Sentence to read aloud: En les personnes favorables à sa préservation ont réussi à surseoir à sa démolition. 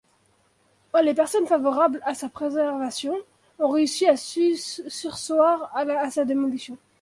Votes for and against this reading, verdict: 1, 2, rejected